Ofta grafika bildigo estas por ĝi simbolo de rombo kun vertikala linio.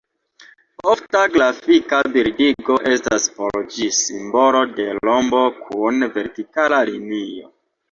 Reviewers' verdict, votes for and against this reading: accepted, 2, 0